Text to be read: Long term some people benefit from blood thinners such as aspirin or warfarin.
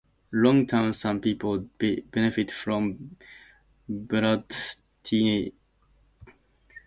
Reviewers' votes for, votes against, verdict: 0, 2, rejected